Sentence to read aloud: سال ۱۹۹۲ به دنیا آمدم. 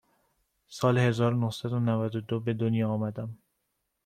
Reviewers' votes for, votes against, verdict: 0, 2, rejected